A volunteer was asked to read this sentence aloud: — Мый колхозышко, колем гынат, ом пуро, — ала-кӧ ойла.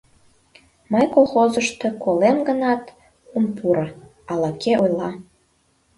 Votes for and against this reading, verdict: 0, 2, rejected